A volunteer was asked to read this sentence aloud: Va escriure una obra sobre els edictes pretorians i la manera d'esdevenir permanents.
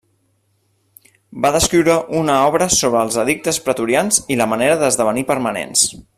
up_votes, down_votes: 1, 2